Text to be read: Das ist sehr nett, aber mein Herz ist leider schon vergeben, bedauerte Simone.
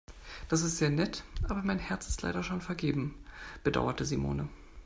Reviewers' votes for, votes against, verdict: 2, 0, accepted